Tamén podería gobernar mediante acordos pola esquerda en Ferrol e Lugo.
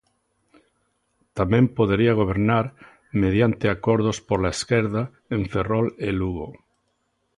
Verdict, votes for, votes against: accepted, 2, 0